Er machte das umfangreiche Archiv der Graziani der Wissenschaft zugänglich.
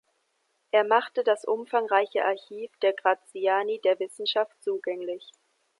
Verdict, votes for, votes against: accepted, 2, 0